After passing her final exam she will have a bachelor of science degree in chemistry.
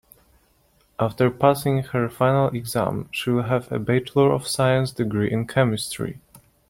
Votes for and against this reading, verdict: 3, 1, accepted